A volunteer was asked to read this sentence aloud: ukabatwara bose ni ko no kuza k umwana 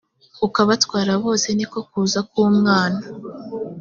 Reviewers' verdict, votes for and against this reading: accepted, 2, 0